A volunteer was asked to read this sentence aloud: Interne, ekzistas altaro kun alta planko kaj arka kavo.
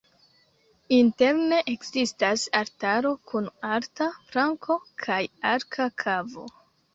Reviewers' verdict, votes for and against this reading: rejected, 1, 2